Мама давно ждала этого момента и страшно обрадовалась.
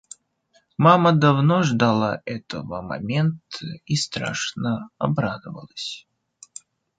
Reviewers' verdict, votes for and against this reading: rejected, 1, 2